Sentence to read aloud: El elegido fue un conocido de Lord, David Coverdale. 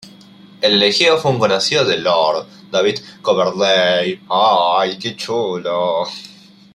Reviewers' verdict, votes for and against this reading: rejected, 0, 2